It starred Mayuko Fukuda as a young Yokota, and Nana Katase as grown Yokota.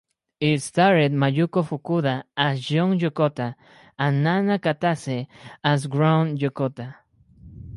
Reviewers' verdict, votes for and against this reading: rejected, 2, 4